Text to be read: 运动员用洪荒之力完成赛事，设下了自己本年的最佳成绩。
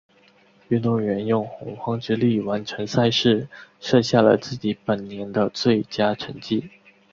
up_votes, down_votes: 0, 2